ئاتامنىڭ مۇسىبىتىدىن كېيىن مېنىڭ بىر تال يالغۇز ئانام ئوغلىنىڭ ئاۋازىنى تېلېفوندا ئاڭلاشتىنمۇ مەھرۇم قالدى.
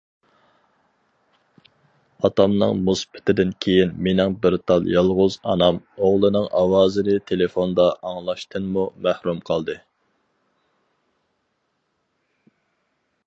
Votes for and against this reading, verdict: 0, 2, rejected